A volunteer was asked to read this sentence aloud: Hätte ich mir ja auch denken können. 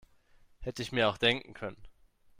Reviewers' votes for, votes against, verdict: 0, 2, rejected